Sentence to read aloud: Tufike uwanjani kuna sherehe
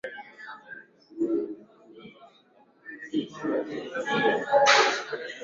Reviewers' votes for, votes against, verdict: 0, 2, rejected